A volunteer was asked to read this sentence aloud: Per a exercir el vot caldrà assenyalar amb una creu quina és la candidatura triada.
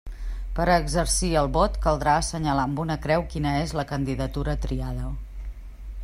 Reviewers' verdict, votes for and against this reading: accepted, 4, 0